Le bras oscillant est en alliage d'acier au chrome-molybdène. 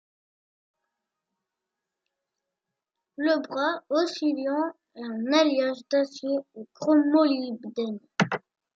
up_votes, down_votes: 1, 2